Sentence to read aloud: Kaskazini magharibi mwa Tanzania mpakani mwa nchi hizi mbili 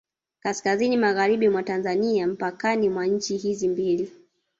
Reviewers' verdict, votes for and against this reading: rejected, 1, 2